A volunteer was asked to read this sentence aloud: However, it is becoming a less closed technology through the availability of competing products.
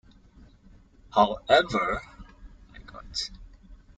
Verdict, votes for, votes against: rejected, 0, 2